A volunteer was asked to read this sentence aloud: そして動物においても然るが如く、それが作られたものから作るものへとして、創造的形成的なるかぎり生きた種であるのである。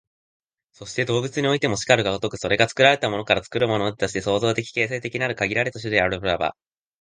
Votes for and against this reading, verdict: 1, 2, rejected